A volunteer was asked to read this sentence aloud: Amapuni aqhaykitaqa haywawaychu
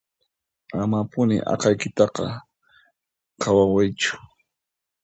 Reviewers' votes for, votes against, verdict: 0, 2, rejected